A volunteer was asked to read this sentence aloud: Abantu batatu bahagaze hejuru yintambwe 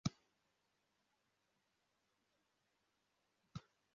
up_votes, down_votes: 0, 2